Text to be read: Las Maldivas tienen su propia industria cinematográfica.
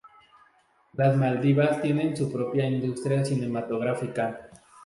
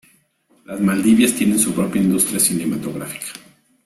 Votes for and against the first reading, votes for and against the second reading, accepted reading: 2, 0, 0, 2, first